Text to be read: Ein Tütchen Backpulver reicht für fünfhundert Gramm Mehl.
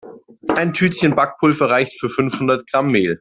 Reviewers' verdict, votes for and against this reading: accepted, 2, 0